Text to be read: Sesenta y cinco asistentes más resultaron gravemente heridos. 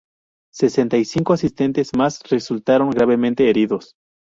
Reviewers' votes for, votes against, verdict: 2, 0, accepted